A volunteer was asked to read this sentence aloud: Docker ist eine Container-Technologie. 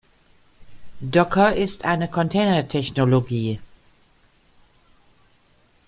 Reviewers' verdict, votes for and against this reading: accepted, 2, 1